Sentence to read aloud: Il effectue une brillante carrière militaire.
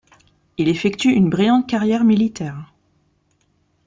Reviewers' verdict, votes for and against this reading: accepted, 2, 0